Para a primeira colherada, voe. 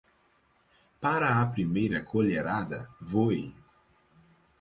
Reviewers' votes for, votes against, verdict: 4, 0, accepted